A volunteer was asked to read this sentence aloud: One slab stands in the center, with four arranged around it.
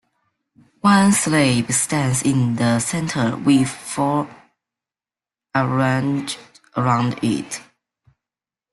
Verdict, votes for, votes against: accepted, 2, 1